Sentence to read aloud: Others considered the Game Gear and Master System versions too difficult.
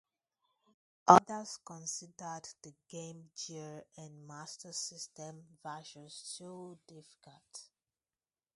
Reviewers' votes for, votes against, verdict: 2, 0, accepted